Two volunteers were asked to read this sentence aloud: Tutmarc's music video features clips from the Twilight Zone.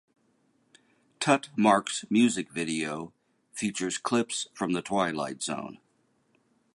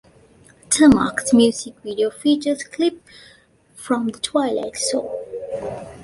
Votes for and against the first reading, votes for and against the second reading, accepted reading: 2, 0, 0, 2, first